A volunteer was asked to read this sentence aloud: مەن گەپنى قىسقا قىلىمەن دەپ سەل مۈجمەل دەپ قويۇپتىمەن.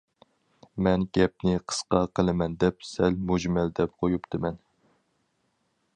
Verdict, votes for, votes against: accepted, 4, 0